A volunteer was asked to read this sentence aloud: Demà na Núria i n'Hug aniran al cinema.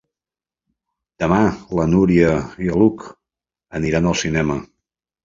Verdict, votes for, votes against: rejected, 1, 2